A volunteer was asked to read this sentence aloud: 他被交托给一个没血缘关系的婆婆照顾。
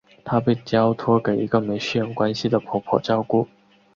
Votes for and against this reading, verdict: 2, 0, accepted